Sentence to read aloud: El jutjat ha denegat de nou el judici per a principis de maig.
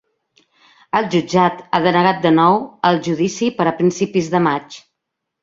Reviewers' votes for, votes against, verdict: 3, 0, accepted